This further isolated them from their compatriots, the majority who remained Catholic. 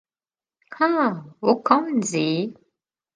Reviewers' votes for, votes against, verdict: 0, 2, rejected